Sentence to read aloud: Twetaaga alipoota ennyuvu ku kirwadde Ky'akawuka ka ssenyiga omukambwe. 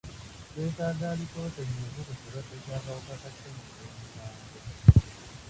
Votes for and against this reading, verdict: 2, 1, accepted